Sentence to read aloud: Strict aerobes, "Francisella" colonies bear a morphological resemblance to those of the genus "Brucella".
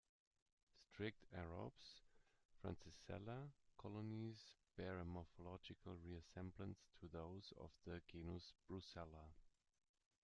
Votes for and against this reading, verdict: 0, 2, rejected